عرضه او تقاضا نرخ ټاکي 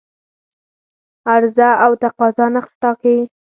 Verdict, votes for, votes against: rejected, 0, 4